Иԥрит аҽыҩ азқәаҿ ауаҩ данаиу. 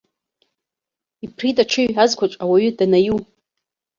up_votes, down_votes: 0, 2